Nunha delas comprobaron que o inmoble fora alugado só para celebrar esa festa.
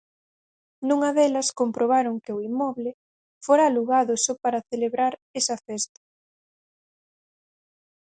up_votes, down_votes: 4, 0